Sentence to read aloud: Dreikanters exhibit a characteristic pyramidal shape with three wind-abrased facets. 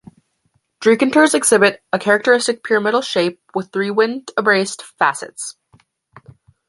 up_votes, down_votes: 2, 1